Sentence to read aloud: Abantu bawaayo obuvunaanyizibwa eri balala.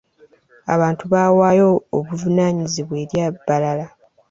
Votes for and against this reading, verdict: 1, 2, rejected